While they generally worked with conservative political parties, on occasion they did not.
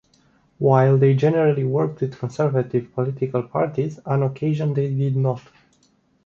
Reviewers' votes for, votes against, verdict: 2, 0, accepted